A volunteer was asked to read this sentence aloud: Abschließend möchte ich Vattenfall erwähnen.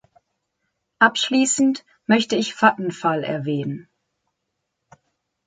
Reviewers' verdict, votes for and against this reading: rejected, 1, 2